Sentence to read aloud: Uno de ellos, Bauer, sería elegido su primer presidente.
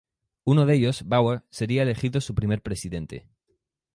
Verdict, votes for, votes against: accepted, 4, 0